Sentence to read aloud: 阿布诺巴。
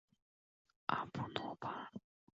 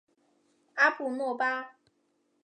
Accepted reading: second